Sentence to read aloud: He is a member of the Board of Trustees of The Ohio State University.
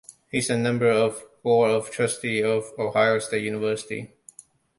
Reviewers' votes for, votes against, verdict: 1, 2, rejected